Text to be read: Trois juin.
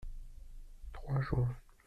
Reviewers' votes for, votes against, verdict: 1, 2, rejected